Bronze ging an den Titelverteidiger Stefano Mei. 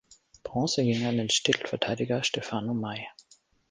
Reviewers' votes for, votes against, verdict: 1, 2, rejected